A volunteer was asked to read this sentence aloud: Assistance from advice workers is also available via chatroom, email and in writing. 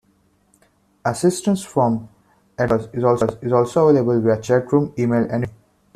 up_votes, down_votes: 0, 2